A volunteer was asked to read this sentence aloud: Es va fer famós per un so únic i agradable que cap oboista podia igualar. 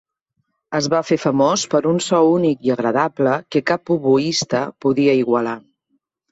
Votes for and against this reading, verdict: 3, 0, accepted